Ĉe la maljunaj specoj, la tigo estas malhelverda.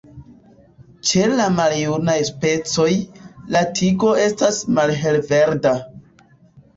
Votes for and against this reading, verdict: 2, 0, accepted